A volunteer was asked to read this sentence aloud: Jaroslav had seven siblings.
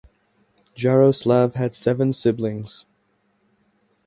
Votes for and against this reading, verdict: 2, 0, accepted